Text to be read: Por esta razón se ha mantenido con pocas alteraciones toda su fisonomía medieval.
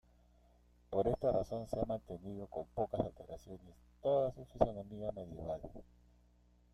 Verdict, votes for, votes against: rejected, 1, 2